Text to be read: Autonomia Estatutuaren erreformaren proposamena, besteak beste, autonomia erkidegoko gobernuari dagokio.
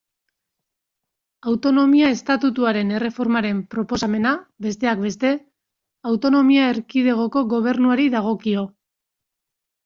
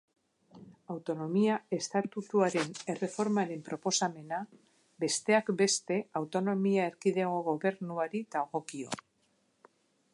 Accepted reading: first